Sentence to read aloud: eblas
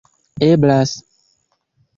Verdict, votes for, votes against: accepted, 2, 0